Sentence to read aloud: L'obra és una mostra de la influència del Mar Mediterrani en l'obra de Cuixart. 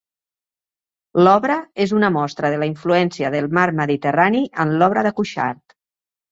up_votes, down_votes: 2, 0